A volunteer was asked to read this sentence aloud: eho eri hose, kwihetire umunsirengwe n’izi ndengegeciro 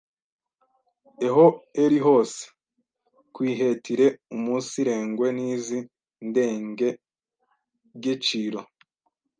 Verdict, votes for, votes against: rejected, 1, 2